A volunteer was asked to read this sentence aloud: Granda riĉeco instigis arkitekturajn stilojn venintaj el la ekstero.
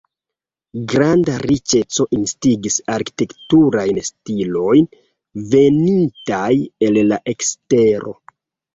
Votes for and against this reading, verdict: 0, 2, rejected